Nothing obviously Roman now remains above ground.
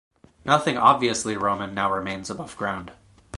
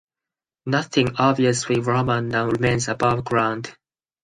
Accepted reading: first